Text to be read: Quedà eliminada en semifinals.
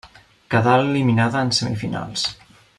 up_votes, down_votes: 3, 0